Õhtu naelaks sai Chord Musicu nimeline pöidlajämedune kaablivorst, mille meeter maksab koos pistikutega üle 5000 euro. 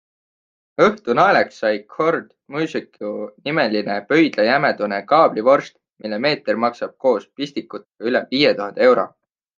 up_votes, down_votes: 0, 2